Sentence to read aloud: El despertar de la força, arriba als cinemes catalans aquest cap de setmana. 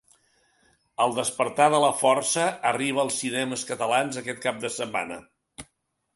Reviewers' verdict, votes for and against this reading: accepted, 5, 0